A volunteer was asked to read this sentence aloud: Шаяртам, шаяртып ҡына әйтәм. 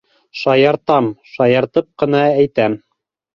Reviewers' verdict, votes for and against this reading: accepted, 2, 0